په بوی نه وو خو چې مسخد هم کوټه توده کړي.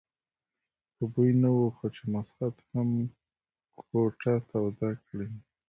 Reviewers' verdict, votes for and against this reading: rejected, 1, 2